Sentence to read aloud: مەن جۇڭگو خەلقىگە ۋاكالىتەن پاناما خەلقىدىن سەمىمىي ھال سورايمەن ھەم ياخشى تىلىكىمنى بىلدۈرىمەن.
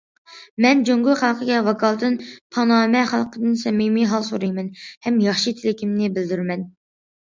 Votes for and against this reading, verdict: 1, 2, rejected